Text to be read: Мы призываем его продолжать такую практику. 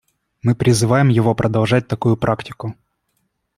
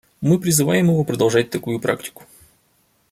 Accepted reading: first